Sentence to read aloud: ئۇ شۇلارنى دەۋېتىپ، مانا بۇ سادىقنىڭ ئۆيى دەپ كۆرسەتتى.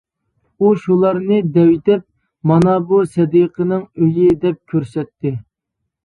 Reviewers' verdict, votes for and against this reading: rejected, 0, 2